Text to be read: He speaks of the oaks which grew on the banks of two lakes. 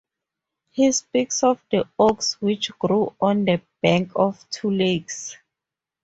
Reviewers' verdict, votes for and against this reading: rejected, 0, 4